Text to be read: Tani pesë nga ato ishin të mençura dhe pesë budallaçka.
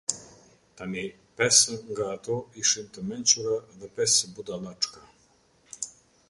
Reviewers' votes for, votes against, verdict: 2, 0, accepted